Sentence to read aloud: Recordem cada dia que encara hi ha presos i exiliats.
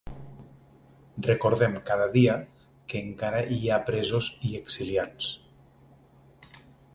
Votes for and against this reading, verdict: 2, 0, accepted